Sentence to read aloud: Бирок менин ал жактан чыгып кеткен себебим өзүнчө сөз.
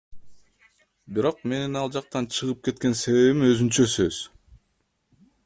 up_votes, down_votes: 2, 0